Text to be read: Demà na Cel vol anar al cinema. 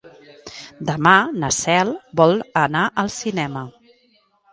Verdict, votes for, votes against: accepted, 2, 0